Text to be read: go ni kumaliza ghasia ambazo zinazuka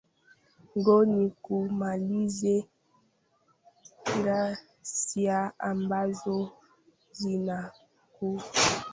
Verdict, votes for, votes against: rejected, 0, 2